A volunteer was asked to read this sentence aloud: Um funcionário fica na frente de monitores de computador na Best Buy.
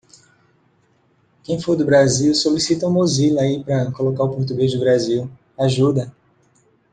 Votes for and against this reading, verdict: 1, 2, rejected